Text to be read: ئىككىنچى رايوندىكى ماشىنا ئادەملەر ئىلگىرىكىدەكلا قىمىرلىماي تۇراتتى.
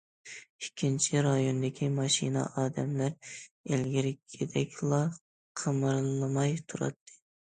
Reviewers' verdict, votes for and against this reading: accepted, 2, 0